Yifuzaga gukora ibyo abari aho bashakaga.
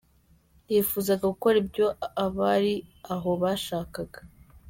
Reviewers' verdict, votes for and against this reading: accepted, 3, 0